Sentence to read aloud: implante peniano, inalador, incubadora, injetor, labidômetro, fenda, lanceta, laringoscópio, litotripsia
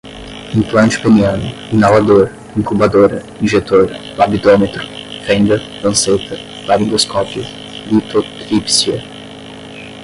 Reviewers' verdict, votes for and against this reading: rejected, 5, 5